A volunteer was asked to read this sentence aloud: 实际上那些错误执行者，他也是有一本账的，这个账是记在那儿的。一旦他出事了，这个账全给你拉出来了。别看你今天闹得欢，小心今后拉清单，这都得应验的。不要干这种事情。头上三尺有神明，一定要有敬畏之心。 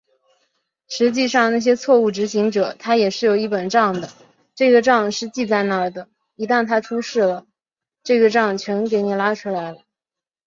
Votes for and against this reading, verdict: 0, 2, rejected